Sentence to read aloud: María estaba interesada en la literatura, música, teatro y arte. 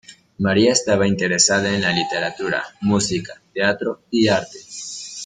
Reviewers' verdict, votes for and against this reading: accepted, 2, 0